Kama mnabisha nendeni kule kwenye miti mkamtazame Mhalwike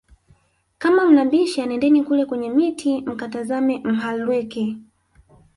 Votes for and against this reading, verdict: 2, 3, rejected